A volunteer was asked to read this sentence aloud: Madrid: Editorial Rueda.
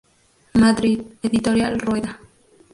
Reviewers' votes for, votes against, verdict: 0, 2, rejected